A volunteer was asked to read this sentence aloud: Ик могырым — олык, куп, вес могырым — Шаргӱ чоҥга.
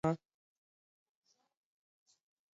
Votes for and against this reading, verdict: 0, 2, rejected